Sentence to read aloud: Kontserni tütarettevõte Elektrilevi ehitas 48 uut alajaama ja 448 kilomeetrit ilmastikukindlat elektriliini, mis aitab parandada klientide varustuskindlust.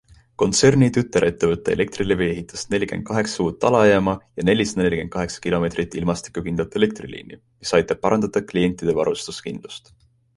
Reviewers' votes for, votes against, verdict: 0, 2, rejected